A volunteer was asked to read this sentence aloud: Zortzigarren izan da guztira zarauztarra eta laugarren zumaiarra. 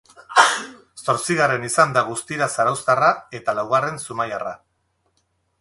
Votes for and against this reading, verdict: 0, 2, rejected